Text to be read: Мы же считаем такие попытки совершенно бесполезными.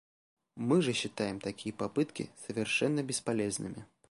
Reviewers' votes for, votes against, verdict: 2, 0, accepted